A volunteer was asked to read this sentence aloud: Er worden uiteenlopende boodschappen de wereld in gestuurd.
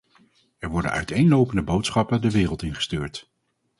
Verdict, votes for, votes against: accepted, 4, 0